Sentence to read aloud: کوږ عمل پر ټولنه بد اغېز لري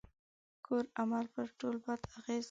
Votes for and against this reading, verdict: 1, 2, rejected